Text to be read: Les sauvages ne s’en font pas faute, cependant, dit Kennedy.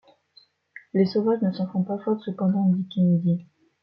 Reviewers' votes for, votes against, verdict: 2, 0, accepted